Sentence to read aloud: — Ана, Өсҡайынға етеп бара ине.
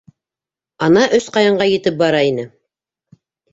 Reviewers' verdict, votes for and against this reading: accepted, 2, 0